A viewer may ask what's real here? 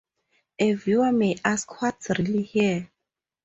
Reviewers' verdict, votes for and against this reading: accepted, 4, 0